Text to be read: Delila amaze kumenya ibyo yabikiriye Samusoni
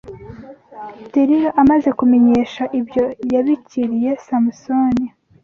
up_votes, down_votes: 1, 2